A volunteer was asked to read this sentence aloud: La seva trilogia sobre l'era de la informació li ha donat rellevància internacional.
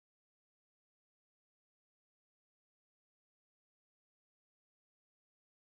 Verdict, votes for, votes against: rejected, 0, 2